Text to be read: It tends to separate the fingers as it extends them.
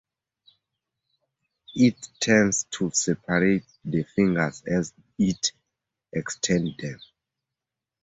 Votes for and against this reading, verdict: 0, 2, rejected